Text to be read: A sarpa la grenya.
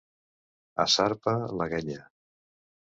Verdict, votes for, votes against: rejected, 1, 2